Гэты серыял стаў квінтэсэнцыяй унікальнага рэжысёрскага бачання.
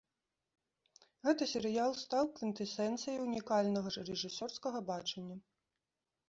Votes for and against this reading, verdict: 0, 2, rejected